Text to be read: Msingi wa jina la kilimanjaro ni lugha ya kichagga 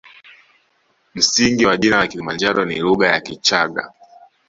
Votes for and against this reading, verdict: 2, 0, accepted